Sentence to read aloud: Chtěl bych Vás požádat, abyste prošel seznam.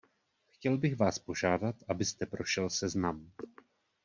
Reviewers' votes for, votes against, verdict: 2, 0, accepted